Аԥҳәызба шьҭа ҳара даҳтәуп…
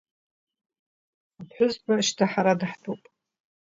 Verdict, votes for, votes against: accepted, 2, 0